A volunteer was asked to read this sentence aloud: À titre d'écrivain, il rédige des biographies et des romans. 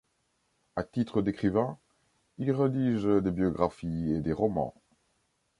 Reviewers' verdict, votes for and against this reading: rejected, 1, 2